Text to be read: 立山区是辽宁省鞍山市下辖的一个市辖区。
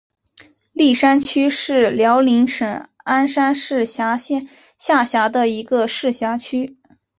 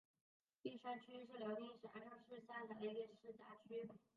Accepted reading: first